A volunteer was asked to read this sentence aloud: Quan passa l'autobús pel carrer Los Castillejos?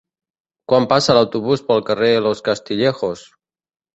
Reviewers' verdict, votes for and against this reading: accepted, 3, 0